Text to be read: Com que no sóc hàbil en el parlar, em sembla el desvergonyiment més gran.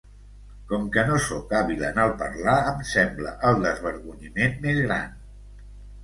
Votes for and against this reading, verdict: 2, 0, accepted